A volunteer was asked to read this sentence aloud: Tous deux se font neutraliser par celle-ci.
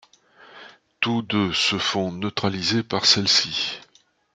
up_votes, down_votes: 2, 0